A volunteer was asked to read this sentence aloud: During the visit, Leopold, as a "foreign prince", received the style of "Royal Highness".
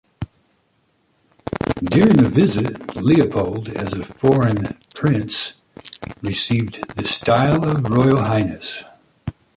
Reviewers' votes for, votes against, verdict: 2, 0, accepted